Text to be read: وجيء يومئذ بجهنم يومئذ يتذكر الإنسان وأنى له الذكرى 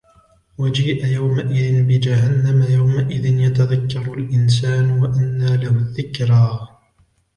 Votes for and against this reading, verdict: 2, 0, accepted